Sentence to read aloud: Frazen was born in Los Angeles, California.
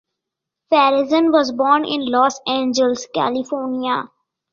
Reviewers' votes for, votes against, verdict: 2, 0, accepted